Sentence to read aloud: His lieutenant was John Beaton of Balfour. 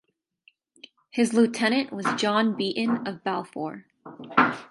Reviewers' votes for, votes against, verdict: 4, 0, accepted